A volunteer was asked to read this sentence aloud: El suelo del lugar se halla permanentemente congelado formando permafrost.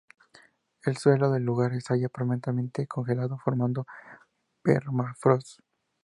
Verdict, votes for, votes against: accepted, 4, 2